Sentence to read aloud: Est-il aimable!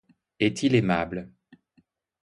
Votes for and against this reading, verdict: 2, 0, accepted